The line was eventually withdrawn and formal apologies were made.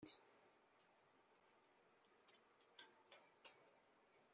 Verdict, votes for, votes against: rejected, 0, 2